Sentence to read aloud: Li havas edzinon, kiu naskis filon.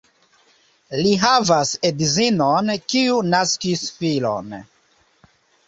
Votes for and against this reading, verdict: 2, 0, accepted